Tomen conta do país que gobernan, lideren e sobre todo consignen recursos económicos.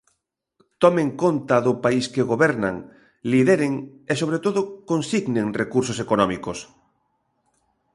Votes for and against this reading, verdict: 2, 0, accepted